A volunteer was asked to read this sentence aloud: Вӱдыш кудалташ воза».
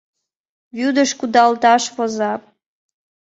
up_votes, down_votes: 2, 0